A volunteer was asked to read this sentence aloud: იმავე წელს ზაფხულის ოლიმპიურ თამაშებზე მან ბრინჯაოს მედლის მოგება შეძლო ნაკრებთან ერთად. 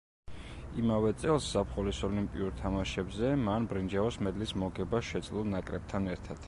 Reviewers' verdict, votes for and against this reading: accepted, 2, 0